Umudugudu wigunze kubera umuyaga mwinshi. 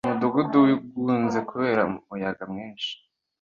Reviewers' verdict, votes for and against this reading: accepted, 2, 0